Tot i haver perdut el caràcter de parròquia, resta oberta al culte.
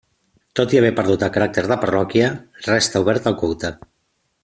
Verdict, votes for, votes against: accepted, 2, 0